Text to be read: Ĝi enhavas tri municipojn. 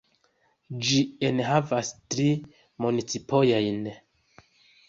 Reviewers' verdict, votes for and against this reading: rejected, 0, 2